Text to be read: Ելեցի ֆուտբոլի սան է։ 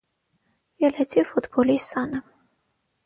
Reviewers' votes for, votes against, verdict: 3, 6, rejected